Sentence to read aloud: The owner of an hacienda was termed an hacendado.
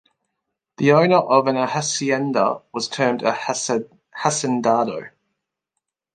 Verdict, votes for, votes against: rejected, 1, 2